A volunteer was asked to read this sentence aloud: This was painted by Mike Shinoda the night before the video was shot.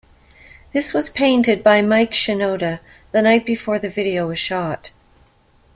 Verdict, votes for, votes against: accepted, 2, 0